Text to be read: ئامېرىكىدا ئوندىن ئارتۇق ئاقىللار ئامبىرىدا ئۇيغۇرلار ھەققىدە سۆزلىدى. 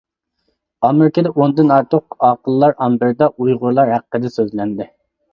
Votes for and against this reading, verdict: 0, 2, rejected